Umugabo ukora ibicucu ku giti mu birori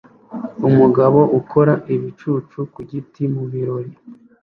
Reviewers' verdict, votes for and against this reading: accepted, 2, 0